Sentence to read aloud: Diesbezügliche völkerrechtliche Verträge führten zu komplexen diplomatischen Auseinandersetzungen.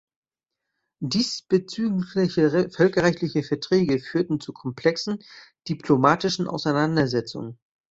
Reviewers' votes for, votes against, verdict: 1, 2, rejected